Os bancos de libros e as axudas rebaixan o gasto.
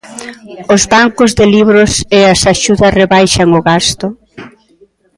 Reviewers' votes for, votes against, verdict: 1, 2, rejected